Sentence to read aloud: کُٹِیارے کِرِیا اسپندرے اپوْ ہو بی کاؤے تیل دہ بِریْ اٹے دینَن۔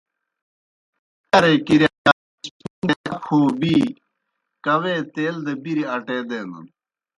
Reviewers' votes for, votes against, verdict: 0, 2, rejected